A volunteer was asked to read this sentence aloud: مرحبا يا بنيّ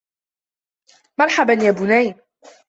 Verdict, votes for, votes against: accepted, 2, 1